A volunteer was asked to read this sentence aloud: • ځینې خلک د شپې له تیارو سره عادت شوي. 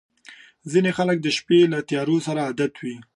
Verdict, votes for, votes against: rejected, 1, 2